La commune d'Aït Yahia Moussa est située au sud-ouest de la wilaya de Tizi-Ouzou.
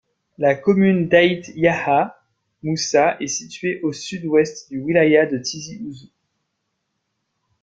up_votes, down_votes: 0, 2